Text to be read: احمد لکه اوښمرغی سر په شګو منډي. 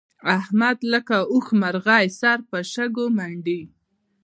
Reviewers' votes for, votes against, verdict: 0, 2, rejected